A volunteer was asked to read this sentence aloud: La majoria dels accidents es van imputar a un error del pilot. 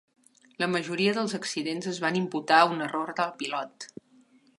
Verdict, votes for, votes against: accepted, 4, 0